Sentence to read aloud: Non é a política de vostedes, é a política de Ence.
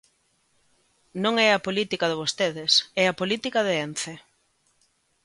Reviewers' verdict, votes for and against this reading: accepted, 2, 0